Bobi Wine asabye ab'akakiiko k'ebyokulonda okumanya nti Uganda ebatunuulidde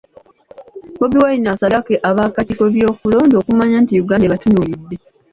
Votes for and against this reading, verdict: 0, 2, rejected